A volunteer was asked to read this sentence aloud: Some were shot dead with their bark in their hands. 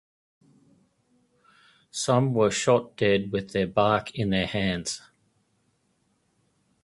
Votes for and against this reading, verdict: 5, 0, accepted